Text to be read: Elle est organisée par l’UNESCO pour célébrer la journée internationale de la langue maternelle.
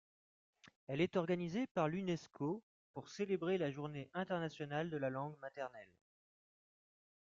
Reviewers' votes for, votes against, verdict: 2, 0, accepted